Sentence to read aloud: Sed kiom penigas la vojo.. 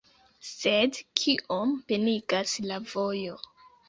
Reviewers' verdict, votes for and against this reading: accepted, 2, 0